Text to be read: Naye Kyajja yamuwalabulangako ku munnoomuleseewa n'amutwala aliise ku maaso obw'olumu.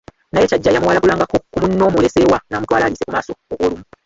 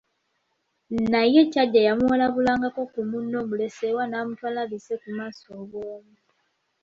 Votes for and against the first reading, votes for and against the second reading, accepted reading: 1, 2, 3, 0, second